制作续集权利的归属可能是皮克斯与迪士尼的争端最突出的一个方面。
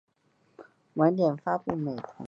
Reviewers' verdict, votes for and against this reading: rejected, 0, 2